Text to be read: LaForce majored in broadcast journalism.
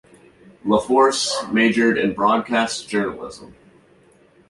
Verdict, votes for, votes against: accepted, 2, 1